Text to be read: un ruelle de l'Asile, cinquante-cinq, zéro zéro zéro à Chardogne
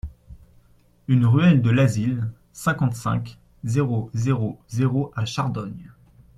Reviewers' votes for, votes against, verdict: 2, 1, accepted